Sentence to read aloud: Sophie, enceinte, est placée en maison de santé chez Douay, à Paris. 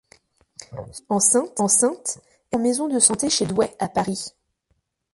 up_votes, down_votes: 0, 2